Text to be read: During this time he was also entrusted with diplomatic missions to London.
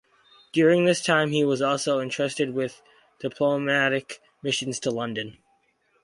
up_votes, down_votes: 0, 2